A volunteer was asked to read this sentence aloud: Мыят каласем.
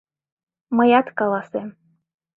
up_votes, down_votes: 2, 0